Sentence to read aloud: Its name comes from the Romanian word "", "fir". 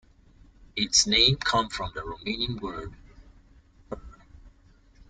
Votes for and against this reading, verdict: 0, 2, rejected